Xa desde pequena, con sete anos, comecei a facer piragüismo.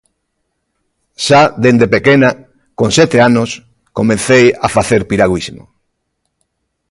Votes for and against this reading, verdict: 2, 1, accepted